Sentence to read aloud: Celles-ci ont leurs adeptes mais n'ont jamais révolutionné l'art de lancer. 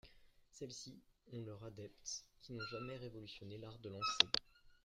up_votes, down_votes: 0, 2